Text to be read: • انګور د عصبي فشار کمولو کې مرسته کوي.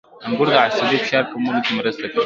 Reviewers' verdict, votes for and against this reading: accepted, 3, 1